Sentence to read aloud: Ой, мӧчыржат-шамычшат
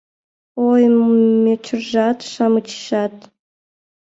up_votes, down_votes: 0, 2